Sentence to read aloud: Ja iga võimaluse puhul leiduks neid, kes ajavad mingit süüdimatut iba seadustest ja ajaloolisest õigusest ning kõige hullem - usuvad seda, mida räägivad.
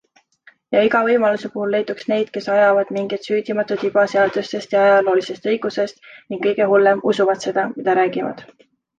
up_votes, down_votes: 2, 0